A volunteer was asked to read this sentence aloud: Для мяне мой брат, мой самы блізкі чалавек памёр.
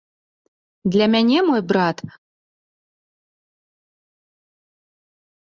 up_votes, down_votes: 1, 2